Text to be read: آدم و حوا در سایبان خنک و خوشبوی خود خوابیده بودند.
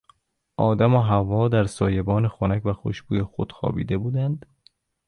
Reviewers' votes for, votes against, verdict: 1, 2, rejected